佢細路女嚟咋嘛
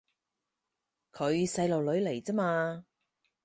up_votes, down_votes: 4, 0